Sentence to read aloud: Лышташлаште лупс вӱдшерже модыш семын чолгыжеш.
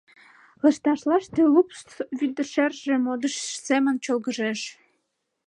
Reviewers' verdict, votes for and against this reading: rejected, 0, 2